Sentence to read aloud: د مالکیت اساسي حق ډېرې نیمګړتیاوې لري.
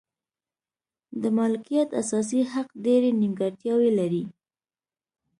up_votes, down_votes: 0, 2